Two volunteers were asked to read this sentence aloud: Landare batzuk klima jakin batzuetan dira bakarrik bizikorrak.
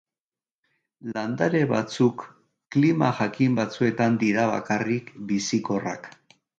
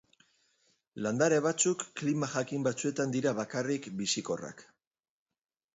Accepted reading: first